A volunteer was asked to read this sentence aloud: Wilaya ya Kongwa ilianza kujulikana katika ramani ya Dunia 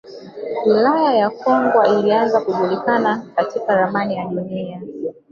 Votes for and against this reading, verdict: 1, 3, rejected